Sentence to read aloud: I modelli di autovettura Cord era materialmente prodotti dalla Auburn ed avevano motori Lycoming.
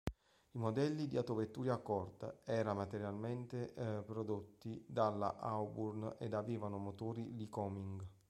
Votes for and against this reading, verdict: 1, 2, rejected